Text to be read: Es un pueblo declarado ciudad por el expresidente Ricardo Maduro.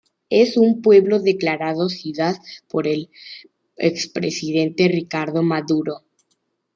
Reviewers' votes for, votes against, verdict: 2, 0, accepted